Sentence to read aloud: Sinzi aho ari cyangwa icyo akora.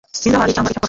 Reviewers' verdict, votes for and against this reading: rejected, 1, 2